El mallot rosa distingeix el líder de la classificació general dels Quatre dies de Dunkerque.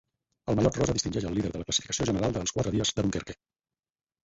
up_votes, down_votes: 0, 8